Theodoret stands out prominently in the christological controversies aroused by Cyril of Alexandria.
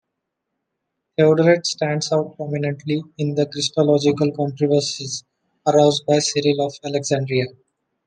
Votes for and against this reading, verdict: 2, 0, accepted